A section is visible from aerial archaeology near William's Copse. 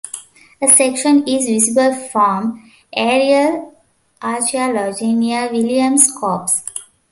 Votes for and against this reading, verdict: 2, 1, accepted